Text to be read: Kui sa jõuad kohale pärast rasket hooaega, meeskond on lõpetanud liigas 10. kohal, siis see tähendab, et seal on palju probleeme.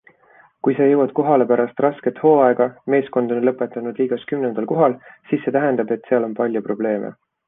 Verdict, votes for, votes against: rejected, 0, 2